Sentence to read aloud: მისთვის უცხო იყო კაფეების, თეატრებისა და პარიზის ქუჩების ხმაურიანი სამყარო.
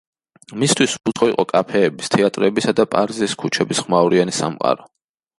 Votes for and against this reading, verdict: 1, 2, rejected